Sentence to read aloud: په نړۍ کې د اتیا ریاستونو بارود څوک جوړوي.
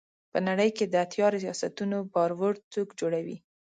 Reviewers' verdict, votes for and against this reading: rejected, 1, 2